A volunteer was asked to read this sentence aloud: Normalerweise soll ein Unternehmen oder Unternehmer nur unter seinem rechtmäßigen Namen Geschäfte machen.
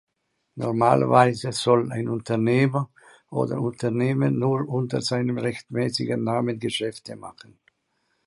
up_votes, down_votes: 1, 2